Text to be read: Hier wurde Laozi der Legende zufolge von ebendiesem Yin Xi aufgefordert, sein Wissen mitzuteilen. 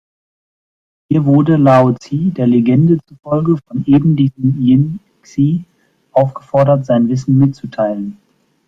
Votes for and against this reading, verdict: 2, 0, accepted